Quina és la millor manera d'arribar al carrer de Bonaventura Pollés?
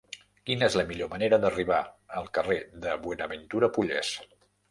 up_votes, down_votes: 0, 2